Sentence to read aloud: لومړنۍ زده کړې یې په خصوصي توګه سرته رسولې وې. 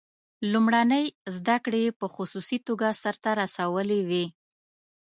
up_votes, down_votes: 2, 0